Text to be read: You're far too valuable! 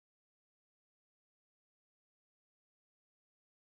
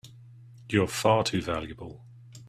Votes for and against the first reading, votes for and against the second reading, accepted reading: 0, 2, 2, 0, second